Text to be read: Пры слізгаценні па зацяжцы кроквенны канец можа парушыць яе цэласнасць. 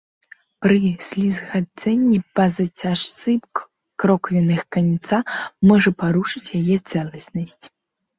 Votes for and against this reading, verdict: 1, 2, rejected